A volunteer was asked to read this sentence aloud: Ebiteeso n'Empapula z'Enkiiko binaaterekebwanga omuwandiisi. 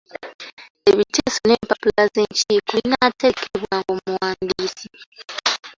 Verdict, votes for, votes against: rejected, 0, 3